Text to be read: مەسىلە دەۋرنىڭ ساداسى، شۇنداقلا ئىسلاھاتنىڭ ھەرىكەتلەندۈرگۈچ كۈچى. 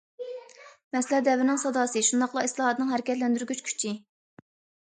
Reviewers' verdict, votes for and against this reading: accepted, 2, 0